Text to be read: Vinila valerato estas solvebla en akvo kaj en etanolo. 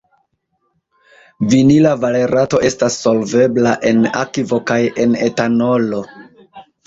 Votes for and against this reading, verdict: 2, 0, accepted